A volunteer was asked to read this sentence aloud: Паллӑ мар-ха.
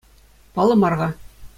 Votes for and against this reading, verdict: 2, 0, accepted